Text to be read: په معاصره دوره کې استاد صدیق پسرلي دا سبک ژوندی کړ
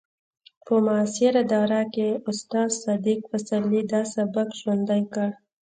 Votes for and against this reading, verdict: 2, 0, accepted